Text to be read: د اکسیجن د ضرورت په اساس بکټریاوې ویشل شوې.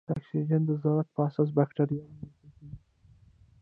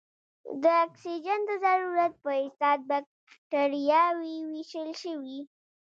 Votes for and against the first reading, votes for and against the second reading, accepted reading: 0, 2, 2, 0, second